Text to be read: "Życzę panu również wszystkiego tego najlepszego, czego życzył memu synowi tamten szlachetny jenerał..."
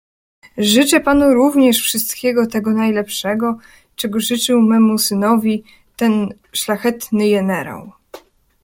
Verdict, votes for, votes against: rejected, 0, 2